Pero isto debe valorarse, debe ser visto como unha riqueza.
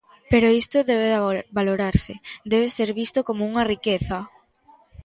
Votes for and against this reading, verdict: 0, 2, rejected